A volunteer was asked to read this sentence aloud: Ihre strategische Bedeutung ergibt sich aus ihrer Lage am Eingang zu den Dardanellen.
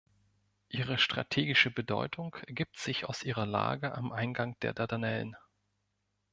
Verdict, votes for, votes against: rejected, 0, 2